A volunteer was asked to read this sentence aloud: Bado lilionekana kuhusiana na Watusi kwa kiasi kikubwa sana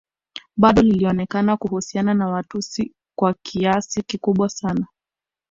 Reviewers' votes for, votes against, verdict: 2, 0, accepted